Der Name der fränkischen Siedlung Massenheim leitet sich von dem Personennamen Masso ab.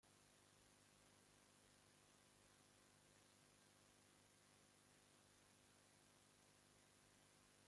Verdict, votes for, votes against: rejected, 0, 2